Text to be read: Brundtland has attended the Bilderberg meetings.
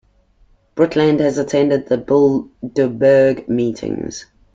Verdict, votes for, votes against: accepted, 2, 1